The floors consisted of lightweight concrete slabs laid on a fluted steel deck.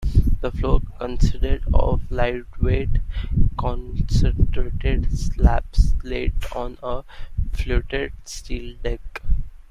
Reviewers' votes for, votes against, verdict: 0, 2, rejected